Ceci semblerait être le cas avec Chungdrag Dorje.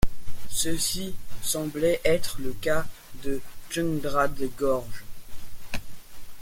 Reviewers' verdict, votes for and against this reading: rejected, 0, 2